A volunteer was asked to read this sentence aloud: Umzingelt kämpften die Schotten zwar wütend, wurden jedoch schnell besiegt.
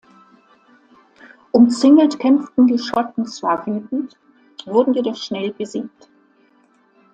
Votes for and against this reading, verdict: 2, 0, accepted